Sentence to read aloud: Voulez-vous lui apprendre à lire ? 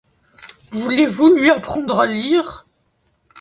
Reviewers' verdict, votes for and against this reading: accepted, 2, 0